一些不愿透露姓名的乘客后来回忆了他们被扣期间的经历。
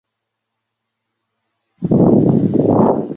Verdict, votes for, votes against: rejected, 0, 5